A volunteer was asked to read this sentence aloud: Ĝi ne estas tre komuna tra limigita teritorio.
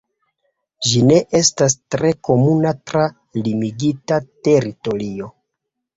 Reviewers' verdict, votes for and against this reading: rejected, 1, 2